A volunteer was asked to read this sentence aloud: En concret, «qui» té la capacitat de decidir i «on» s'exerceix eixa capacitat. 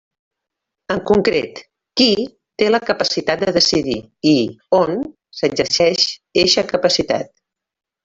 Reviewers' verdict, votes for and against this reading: rejected, 1, 2